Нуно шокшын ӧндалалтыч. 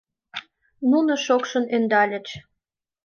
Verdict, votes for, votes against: rejected, 0, 2